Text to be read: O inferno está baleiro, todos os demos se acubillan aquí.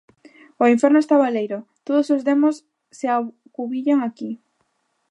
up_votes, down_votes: 1, 2